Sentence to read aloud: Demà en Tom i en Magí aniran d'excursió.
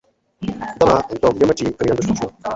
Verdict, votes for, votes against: rejected, 0, 2